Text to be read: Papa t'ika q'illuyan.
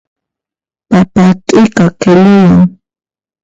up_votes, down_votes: 0, 2